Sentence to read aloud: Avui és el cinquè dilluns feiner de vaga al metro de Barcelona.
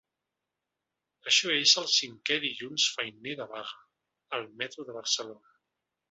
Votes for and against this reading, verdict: 0, 2, rejected